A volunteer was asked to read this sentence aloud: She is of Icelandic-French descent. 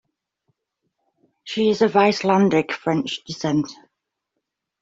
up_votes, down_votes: 2, 0